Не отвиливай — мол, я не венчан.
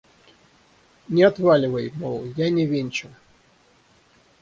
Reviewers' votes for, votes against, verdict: 3, 6, rejected